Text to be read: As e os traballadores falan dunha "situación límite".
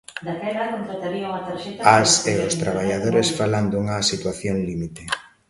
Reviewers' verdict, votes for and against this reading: rejected, 0, 2